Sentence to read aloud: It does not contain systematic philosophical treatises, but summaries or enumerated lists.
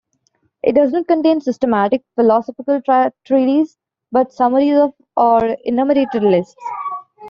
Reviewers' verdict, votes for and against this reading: accepted, 2, 0